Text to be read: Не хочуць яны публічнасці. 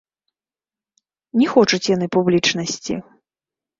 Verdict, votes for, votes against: rejected, 0, 2